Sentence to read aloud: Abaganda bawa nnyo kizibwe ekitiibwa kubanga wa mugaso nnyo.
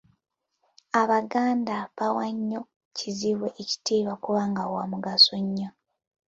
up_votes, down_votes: 2, 0